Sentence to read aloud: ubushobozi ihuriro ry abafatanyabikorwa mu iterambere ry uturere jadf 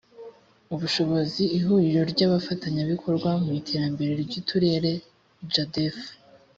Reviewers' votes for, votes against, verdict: 2, 0, accepted